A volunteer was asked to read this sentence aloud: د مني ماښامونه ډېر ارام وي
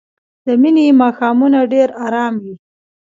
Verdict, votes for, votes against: rejected, 0, 2